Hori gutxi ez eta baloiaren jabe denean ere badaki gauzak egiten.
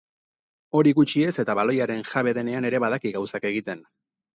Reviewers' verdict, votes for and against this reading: accepted, 2, 0